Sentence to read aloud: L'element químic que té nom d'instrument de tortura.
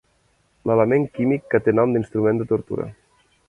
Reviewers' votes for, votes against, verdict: 4, 0, accepted